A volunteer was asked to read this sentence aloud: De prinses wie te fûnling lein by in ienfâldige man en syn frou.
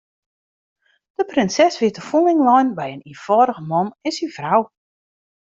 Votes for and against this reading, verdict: 2, 0, accepted